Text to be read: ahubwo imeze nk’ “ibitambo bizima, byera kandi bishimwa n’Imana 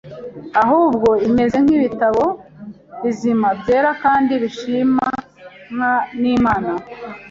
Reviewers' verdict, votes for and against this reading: rejected, 1, 2